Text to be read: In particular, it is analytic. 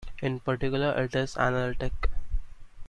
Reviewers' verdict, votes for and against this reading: accepted, 2, 1